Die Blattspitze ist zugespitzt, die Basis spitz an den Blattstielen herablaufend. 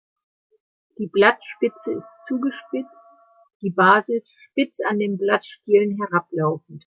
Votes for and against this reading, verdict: 2, 0, accepted